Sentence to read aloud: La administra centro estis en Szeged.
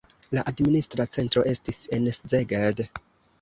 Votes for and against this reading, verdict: 1, 2, rejected